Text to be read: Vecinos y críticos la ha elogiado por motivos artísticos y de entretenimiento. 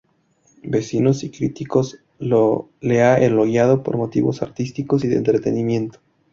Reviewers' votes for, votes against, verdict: 0, 2, rejected